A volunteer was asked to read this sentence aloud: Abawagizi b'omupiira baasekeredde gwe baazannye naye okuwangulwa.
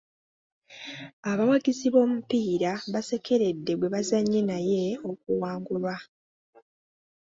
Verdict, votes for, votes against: accepted, 2, 0